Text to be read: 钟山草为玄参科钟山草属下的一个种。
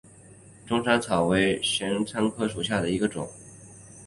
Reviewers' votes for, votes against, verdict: 1, 2, rejected